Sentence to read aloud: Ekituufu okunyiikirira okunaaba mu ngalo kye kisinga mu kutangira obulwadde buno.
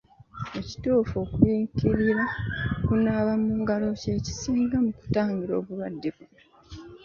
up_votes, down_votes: 2, 0